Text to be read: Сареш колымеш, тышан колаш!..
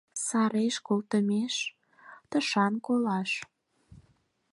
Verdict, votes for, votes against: rejected, 2, 4